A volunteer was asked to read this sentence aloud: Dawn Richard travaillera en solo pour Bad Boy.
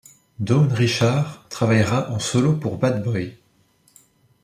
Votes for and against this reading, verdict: 2, 0, accepted